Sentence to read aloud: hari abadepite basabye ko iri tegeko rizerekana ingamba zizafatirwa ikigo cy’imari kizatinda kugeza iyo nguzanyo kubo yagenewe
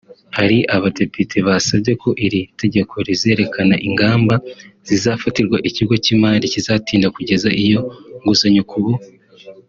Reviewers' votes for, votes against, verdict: 1, 2, rejected